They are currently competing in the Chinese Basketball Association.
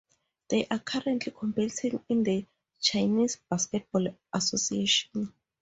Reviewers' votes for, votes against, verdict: 4, 0, accepted